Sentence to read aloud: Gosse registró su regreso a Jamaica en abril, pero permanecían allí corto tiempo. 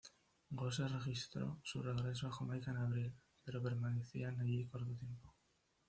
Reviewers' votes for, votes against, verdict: 2, 0, accepted